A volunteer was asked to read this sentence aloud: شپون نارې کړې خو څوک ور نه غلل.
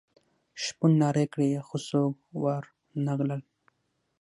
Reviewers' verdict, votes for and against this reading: rejected, 3, 6